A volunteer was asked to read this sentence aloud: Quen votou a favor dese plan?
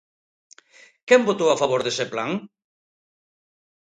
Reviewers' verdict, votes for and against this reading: accepted, 2, 0